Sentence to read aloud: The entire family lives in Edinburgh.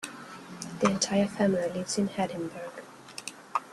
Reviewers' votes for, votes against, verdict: 1, 2, rejected